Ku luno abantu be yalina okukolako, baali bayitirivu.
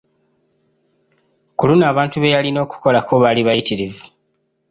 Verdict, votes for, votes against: accepted, 2, 0